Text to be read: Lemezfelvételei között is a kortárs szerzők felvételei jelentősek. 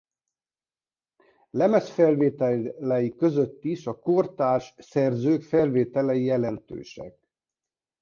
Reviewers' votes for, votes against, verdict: 0, 2, rejected